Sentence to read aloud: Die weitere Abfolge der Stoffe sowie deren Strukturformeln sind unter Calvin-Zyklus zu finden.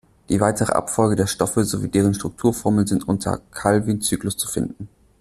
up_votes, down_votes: 2, 1